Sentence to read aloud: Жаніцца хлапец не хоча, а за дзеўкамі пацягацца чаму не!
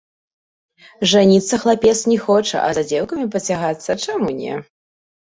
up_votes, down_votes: 2, 0